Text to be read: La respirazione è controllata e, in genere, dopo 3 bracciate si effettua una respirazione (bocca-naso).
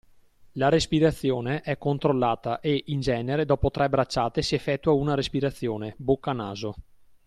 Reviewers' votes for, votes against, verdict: 0, 2, rejected